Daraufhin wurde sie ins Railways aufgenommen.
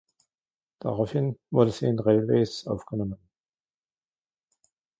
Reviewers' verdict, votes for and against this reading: rejected, 1, 2